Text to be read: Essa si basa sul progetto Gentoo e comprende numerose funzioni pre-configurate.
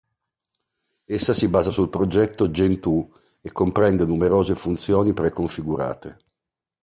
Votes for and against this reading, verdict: 2, 0, accepted